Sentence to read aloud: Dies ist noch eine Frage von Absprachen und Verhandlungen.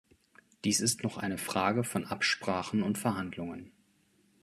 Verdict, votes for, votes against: accepted, 2, 0